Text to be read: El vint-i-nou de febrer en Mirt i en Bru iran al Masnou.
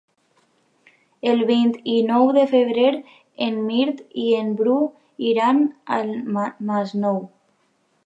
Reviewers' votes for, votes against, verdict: 2, 1, accepted